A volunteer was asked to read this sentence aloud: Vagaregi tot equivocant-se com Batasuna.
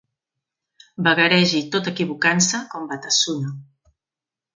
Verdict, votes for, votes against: accepted, 2, 0